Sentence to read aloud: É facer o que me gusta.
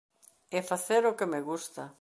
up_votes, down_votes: 2, 0